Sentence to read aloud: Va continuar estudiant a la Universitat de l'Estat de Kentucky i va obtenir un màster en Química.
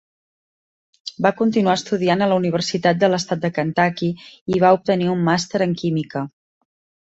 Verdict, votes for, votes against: accepted, 3, 0